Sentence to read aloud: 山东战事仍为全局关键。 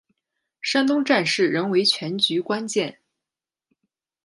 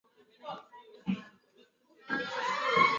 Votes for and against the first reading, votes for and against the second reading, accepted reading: 2, 0, 0, 3, first